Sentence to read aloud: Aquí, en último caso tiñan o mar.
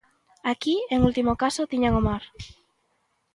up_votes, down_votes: 2, 0